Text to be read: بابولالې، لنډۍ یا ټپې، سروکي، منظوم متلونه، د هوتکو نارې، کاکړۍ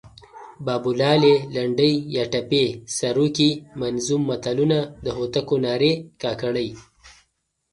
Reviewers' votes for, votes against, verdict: 2, 0, accepted